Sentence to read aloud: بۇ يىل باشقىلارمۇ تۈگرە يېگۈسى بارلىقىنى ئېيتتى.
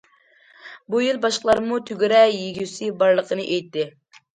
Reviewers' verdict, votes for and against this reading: accepted, 2, 0